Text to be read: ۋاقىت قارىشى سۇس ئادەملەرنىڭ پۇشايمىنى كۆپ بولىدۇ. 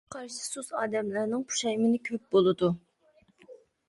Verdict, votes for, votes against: rejected, 0, 2